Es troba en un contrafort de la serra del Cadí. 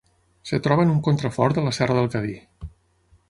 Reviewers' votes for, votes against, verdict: 6, 3, accepted